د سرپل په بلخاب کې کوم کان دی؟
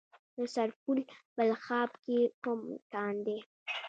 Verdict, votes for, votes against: accepted, 2, 0